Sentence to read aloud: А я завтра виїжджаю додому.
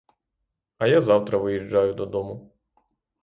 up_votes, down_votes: 3, 0